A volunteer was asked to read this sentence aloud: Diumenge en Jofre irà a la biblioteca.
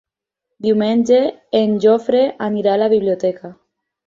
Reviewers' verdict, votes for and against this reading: rejected, 2, 4